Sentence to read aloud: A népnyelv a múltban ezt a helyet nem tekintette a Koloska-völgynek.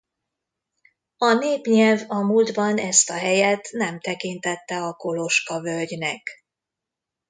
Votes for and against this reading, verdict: 2, 0, accepted